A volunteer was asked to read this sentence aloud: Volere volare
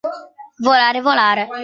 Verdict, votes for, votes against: rejected, 0, 2